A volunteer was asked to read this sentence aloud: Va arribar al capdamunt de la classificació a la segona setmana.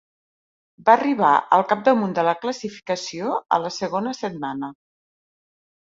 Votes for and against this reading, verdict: 4, 0, accepted